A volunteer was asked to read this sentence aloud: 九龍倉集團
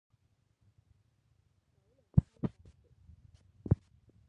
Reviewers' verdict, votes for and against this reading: rejected, 0, 2